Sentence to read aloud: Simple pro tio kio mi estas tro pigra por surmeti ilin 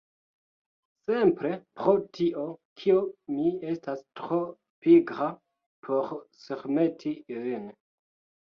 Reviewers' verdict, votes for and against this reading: rejected, 0, 2